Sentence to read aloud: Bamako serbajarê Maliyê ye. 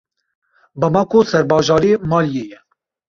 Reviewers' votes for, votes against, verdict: 2, 0, accepted